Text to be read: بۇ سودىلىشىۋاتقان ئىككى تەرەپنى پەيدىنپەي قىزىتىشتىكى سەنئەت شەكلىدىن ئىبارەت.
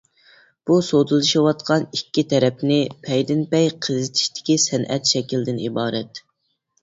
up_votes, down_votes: 2, 0